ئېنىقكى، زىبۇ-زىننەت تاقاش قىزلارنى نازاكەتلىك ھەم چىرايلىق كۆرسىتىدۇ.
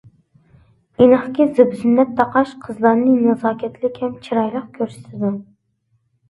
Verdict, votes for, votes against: accepted, 2, 0